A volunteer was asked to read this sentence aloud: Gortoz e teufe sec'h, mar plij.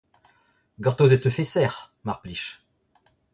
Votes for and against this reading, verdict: 0, 2, rejected